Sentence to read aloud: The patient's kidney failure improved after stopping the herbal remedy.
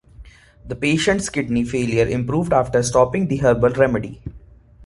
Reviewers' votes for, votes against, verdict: 2, 1, accepted